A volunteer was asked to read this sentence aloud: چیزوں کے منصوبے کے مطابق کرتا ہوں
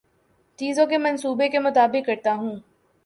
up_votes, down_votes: 2, 0